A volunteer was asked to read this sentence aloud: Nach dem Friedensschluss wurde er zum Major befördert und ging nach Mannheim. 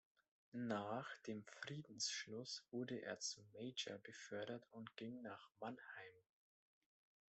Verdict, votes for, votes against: rejected, 1, 2